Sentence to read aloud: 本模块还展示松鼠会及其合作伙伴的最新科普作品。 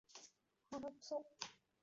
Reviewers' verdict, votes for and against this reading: rejected, 0, 2